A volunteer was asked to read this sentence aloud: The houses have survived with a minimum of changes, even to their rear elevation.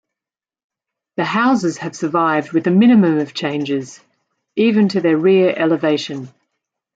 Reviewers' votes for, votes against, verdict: 2, 1, accepted